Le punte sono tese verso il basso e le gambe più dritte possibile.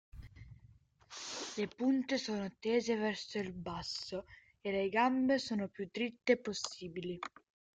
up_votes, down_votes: 0, 2